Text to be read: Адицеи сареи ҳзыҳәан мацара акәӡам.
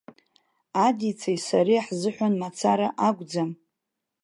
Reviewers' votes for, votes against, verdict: 2, 0, accepted